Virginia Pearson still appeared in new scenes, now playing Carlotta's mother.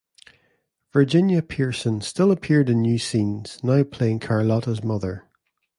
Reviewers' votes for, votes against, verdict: 2, 0, accepted